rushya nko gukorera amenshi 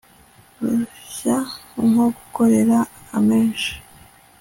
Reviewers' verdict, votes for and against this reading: accepted, 2, 0